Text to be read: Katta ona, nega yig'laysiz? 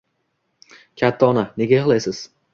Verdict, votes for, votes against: accepted, 2, 0